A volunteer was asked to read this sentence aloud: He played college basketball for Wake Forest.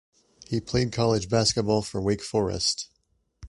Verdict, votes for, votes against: accepted, 2, 0